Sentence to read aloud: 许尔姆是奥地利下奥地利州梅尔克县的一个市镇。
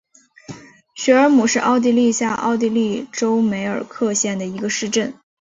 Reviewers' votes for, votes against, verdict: 2, 0, accepted